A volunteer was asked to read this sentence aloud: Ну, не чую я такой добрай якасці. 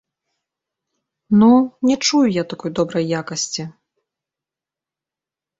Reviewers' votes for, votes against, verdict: 2, 0, accepted